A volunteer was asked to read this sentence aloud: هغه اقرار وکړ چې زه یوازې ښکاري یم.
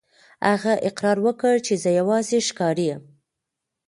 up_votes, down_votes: 2, 0